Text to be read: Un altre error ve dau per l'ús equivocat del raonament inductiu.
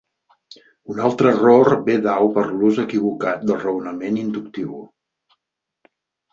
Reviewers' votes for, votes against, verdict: 4, 0, accepted